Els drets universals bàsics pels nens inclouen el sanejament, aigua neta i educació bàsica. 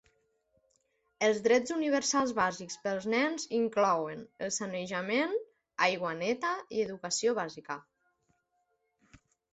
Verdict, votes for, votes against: accepted, 2, 0